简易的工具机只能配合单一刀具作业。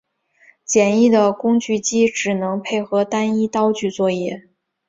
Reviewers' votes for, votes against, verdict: 3, 1, accepted